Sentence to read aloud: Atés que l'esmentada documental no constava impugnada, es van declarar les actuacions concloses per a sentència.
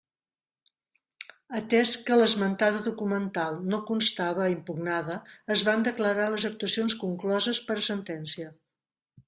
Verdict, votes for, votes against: rejected, 1, 2